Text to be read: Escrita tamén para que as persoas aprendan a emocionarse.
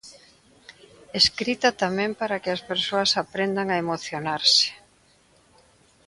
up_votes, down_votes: 2, 1